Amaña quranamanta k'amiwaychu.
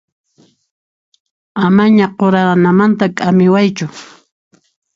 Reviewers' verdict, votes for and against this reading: accepted, 2, 0